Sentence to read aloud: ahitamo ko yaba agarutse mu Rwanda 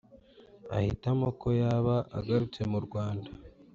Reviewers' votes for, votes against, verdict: 2, 0, accepted